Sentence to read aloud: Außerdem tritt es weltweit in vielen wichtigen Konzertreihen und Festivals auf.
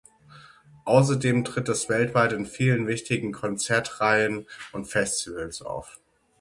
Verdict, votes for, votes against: accepted, 6, 0